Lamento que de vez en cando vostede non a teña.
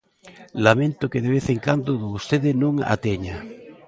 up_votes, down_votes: 0, 2